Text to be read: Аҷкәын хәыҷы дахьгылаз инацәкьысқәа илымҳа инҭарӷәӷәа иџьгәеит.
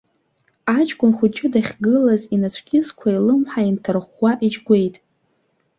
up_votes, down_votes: 0, 2